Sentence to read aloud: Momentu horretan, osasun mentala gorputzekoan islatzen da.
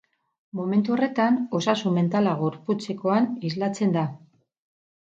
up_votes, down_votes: 0, 2